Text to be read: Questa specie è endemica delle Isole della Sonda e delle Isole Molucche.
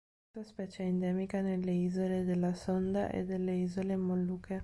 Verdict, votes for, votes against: rejected, 1, 2